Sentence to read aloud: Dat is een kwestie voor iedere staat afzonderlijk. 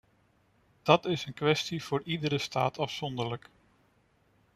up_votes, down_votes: 2, 0